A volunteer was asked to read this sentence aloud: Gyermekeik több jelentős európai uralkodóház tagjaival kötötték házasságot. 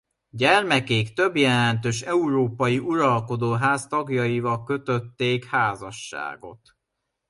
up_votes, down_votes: 0, 2